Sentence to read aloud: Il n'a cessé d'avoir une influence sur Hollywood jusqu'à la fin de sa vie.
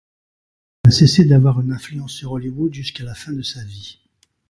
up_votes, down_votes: 0, 2